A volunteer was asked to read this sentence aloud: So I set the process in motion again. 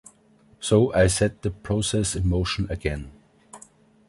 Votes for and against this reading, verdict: 2, 0, accepted